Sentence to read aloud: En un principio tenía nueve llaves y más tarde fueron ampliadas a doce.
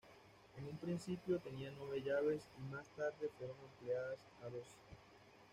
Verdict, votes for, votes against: rejected, 1, 2